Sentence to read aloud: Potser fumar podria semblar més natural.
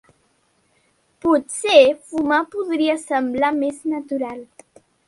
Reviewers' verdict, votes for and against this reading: accepted, 3, 0